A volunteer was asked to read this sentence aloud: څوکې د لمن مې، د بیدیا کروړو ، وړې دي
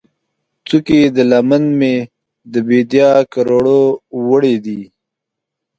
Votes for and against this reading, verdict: 2, 0, accepted